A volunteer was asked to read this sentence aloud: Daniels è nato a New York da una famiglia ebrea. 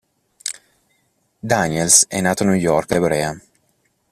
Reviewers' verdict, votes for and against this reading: rejected, 0, 2